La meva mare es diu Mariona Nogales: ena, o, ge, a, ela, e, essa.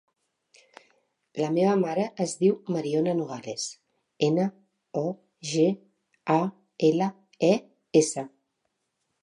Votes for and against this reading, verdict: 2, 0, accepted